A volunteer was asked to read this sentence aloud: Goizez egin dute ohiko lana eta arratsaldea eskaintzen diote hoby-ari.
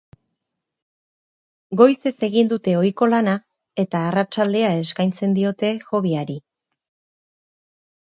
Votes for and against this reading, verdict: 4, 0, accepted